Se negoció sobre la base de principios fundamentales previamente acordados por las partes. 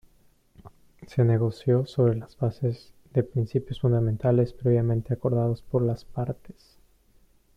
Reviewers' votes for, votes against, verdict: 0, 2, rejected